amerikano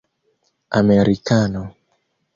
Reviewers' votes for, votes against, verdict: 0, 2, rejected